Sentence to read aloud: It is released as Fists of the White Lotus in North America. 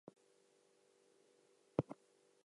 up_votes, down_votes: 0, 4